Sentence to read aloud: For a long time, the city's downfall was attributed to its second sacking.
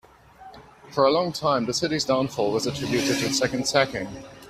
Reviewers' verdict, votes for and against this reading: accepted, 2, 0